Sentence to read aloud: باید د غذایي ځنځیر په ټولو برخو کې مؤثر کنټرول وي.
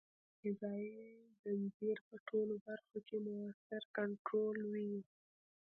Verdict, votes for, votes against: rejected, 1, 2